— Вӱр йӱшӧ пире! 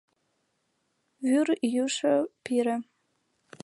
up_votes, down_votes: 2, 0